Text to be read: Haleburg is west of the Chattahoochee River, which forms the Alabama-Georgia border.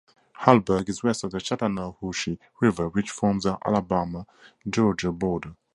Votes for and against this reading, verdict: 0, 2, rejected